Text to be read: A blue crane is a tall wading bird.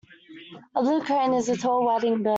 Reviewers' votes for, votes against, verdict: 0, 2, rejected